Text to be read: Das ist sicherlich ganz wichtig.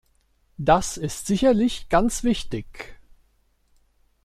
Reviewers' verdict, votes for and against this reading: accepted, 2, 0